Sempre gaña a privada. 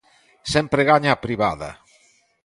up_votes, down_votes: 2, 0